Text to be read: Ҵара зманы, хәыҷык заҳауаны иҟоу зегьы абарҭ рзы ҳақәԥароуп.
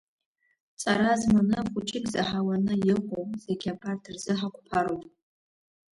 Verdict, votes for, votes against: rejected, 1, 2